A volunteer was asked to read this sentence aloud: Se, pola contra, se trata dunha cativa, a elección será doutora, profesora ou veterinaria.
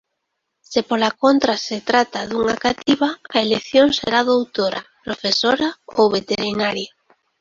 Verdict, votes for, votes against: accepted, 2, 1